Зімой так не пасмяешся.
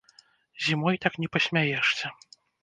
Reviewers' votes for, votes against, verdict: 0, 2, rejected